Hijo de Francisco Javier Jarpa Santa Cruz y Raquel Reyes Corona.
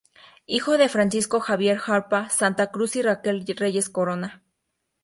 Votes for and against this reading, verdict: 2, 0, accepted